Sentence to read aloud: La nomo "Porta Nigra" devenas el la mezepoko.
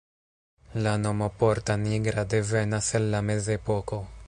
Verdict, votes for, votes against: rejected, 1, 2